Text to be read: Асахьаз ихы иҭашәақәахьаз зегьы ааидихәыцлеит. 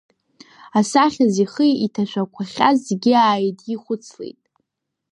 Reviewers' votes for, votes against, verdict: 2, 0, accepted